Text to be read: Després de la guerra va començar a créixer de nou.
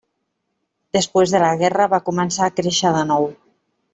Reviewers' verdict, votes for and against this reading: rejected, 1, 2